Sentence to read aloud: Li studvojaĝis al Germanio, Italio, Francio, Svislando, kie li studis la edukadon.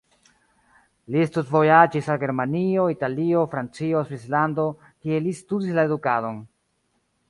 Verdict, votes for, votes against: accepted, 2, 1